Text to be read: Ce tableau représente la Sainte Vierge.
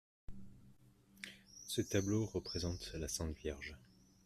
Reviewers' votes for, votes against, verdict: 2, 0, accepted